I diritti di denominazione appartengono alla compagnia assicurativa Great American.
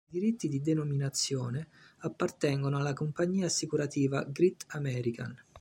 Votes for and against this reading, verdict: 0, 2, rejected